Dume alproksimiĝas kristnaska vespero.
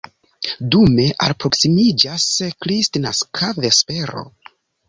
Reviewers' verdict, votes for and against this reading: accepted, 2, 0